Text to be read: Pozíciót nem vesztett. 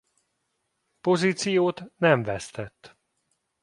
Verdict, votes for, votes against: accepted, 2, 0